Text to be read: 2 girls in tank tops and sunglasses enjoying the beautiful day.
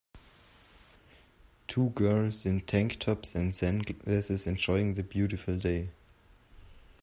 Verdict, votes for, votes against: rejected, 0, 2